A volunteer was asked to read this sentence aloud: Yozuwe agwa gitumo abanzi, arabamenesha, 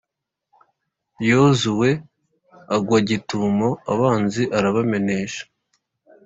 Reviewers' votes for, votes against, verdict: 2, 0, accepted